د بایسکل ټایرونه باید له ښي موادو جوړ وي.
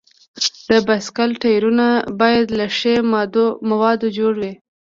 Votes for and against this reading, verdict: 2, 0, accepted